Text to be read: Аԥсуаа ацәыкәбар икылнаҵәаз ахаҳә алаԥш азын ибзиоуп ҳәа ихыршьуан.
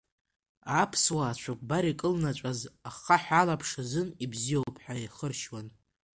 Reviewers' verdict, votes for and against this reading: accepted, 2, 0